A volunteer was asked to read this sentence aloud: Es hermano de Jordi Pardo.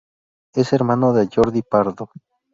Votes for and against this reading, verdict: 6, 0, accepted